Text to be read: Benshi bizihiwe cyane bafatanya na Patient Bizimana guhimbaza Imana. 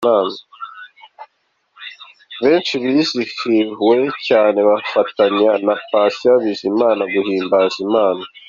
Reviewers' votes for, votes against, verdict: 2, 0, accepted